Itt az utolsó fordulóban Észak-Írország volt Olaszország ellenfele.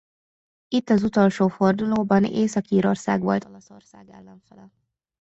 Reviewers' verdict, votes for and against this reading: rejected, 0, 2